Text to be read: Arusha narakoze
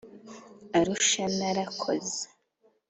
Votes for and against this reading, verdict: 2, 0, accepted